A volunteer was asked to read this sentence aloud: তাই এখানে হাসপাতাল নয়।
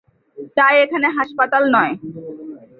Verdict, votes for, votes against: rejected, 0, 2